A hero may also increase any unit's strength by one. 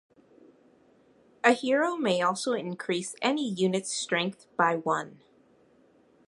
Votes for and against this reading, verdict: 2, 0, accepted